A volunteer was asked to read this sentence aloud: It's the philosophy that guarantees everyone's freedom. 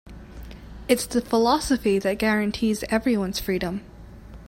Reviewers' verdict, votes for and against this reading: accepted, 3, 0